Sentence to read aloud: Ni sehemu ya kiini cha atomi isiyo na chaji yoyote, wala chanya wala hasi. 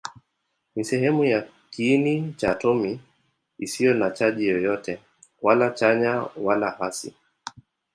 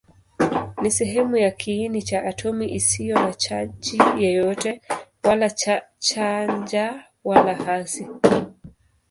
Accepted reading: first